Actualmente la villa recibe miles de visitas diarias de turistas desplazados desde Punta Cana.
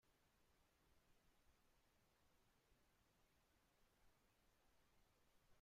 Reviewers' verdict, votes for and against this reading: rejected, 0, 2